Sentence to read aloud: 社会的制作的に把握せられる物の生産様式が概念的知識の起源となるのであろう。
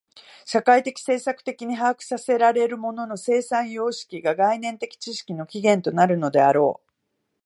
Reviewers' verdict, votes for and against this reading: accepted, 3, 0